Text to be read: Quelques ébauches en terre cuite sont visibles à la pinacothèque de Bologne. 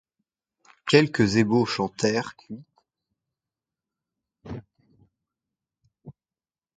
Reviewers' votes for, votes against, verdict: 0, 2, rejected